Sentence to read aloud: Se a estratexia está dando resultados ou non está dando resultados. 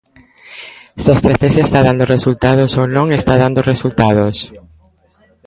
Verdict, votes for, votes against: accepted, 2, 0